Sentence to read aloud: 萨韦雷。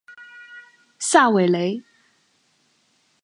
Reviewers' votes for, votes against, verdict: 3, 0, accepted